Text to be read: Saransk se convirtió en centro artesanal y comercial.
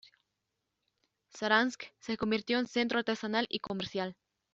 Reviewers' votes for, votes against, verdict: 2, 0, accepted